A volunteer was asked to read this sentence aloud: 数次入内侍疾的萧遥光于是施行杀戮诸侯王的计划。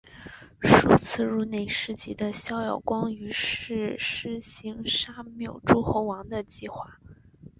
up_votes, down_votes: 1, 2